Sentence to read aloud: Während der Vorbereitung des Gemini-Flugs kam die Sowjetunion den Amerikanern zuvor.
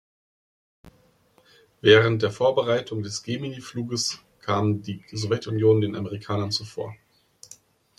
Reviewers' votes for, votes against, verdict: 1, 2, rejected